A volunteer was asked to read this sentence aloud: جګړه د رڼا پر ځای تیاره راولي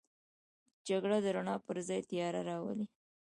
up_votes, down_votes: 0, 2